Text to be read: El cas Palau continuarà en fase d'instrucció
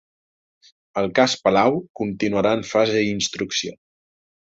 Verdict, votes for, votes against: rejected, 1, 2